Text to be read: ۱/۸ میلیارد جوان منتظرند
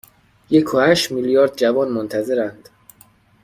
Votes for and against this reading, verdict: 0, 2, rejected